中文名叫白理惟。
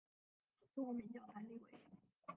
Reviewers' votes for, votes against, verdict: 0, 3, rejected